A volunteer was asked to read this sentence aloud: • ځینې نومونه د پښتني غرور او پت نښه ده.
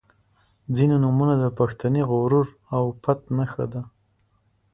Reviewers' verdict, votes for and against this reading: accepted, 2, 0